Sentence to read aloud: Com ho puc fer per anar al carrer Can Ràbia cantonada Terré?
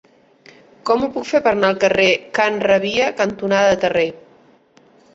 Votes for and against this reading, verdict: 1, 2, rejected